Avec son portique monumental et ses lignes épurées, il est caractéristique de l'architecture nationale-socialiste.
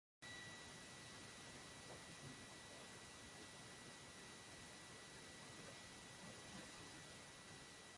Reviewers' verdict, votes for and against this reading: rejected, 0, 2